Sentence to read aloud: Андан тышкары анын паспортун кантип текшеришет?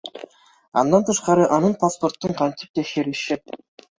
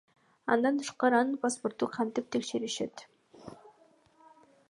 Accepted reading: second